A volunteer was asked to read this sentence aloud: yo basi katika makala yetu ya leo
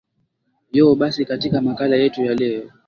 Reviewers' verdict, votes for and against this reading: accepted, 15, 0